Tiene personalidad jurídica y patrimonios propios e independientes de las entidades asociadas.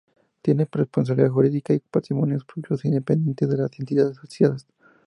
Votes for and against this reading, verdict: 2, 2, rejected